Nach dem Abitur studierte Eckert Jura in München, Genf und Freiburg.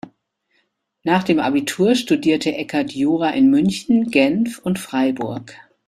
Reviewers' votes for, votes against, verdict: 2, 0, accepted